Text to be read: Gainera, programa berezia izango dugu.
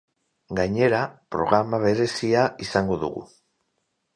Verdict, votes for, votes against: accepted, 4, 0